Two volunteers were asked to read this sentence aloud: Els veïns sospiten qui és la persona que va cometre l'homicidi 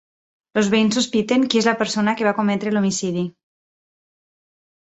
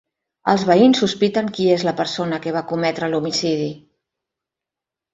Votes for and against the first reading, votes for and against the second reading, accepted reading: 2, 4, 3, 0, second